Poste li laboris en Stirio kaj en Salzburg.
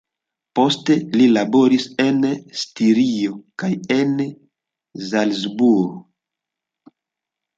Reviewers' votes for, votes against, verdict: 0, 2, rejected